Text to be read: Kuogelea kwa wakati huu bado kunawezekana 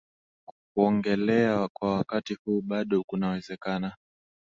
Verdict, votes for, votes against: accepted, 8, 4